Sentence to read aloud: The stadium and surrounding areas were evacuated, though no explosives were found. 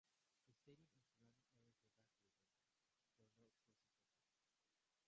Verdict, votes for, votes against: rejected, 0, 2